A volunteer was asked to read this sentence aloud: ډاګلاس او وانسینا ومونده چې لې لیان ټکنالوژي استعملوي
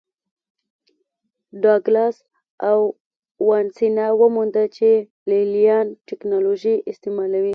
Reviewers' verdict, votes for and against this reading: accepted, 2, 0